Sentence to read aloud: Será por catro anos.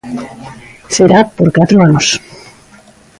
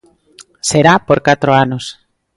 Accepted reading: second